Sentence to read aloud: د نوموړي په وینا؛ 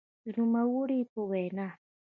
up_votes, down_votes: 0, 2